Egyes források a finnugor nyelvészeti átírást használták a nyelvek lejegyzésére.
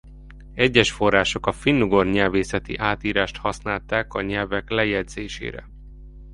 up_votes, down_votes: 2, 0